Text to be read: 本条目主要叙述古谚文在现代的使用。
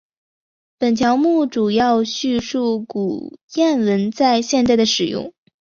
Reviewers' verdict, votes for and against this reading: accepted, 2, 0